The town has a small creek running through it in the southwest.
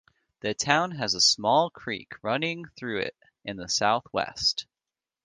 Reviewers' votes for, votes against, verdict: 2, 1, accepted